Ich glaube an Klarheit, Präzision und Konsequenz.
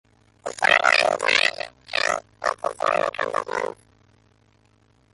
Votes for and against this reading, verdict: 0, 2, rejected